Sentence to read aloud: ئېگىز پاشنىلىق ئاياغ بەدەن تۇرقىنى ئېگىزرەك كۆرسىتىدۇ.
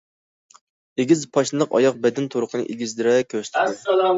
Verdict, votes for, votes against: rejected, 0, 2